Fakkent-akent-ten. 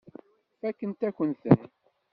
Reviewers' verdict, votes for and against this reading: rejected, 1, 2